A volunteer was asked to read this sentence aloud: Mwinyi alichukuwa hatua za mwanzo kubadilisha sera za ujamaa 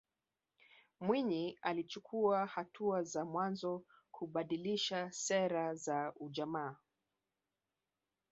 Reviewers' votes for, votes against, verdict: 2, 3, rejected